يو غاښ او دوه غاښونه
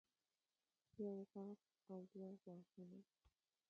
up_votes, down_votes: 1, 2